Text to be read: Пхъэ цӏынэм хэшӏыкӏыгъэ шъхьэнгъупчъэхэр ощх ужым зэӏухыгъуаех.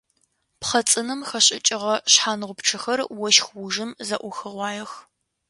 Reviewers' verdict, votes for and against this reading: accepted, 2, 0